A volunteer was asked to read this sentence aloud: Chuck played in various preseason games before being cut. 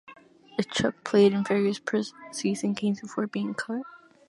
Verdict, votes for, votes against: rejected, 1, 2